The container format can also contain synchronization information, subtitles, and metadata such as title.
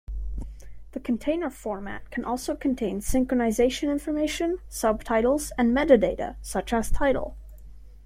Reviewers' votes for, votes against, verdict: 3, 0, accepted